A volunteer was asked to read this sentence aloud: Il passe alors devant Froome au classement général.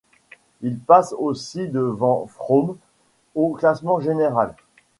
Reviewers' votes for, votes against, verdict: 1, 2, rejected